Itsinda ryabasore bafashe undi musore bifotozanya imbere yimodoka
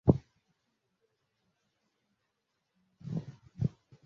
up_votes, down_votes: 0, 2